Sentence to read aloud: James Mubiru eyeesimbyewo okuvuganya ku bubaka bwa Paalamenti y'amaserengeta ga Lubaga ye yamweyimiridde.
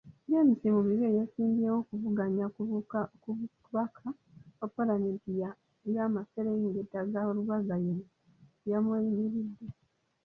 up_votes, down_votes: 0, 2